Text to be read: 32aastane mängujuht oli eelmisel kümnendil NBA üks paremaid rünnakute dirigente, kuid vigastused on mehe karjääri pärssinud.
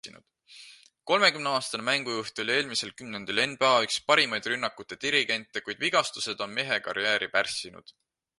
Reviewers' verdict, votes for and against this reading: rejected, 0, 2